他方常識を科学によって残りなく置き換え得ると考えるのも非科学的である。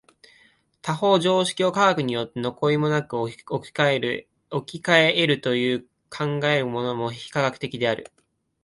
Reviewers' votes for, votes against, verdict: 0, 2, rejected